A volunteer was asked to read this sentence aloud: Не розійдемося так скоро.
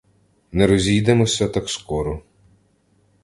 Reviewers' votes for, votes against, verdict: 2, 0, accepted